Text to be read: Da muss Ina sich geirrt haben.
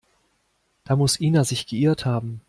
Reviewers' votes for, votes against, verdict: 2, 0, accepted